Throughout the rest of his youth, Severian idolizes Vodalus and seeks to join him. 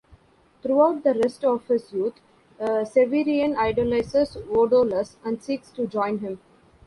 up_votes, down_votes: 1, 2